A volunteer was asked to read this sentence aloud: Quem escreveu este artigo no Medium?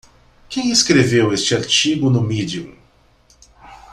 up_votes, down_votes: 2, 0